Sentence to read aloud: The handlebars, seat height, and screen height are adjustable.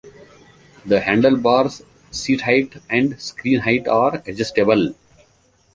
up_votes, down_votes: 2, 0